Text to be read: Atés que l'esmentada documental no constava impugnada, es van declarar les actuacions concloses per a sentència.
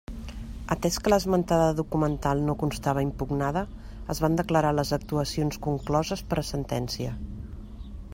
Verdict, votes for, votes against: accepted, 3, 0